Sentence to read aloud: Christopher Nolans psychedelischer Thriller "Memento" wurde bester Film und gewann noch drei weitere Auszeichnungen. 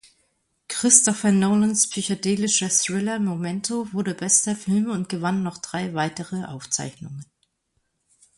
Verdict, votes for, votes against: accepted, 2, 0